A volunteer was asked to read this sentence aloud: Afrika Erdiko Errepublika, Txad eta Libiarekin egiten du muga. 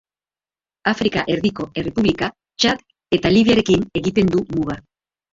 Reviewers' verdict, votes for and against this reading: accepted, 2, 1